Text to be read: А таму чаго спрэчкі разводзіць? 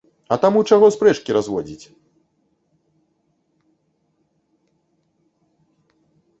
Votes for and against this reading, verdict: 2, 0, accepted